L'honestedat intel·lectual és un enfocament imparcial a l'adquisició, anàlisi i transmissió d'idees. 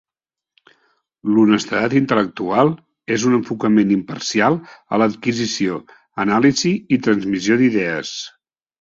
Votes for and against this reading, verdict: 2, 0, accepted